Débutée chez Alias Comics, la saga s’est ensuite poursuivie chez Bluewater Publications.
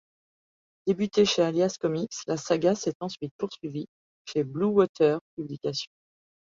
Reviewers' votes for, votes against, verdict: 2, 0, accepted